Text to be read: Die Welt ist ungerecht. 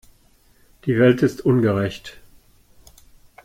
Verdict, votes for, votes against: accepted, 2, 0